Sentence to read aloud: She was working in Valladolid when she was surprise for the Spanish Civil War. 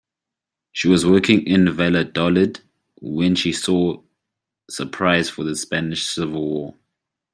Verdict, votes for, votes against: rejected, 1, 2